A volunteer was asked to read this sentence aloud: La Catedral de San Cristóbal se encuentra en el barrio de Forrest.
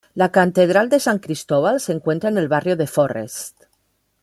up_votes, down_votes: 2, 0